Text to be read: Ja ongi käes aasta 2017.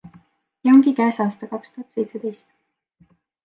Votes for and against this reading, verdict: 0, 2, rejected